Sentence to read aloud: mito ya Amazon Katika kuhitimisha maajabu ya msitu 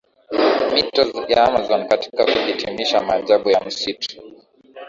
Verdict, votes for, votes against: accepted, 2, 0